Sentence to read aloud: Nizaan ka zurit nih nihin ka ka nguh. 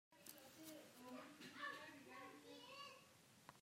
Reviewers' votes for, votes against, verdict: 0, 2, rejected